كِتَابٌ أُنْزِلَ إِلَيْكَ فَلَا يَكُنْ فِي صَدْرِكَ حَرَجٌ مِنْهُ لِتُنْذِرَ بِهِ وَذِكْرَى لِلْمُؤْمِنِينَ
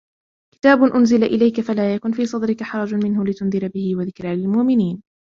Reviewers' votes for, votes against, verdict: 2, 1, accepted